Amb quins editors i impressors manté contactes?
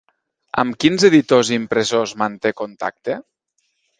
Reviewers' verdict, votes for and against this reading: rejected, 1, 2